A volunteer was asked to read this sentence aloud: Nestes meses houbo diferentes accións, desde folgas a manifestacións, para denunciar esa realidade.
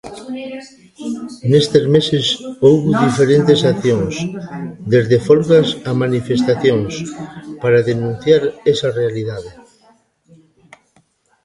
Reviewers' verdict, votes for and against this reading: rejected, 1, 2